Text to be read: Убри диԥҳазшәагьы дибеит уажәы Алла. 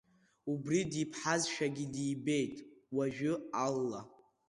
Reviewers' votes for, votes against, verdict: 2, 0, accepted